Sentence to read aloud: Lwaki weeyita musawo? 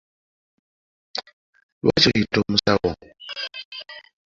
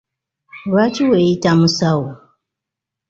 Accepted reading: second